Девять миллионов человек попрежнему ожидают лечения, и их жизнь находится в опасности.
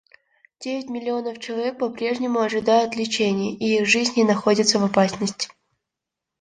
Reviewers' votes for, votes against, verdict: 0, 2, rejected